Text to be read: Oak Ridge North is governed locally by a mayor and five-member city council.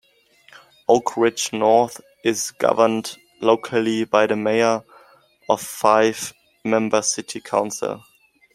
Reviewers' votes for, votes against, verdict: 1, 2, rejected